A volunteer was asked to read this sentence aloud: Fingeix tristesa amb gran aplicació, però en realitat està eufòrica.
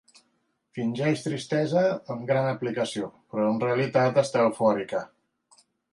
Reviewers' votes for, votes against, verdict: 2, 0, accepted